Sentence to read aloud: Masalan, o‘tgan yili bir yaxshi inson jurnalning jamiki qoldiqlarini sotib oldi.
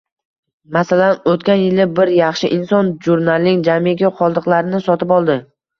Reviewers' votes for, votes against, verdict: 2, 0, accepted